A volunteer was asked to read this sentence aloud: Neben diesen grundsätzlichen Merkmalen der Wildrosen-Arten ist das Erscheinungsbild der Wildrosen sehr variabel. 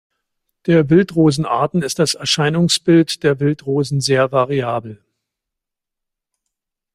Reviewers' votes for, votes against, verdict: 0, 2, rejected